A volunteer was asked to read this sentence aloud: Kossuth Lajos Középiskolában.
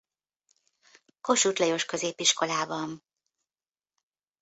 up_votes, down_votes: 2, 0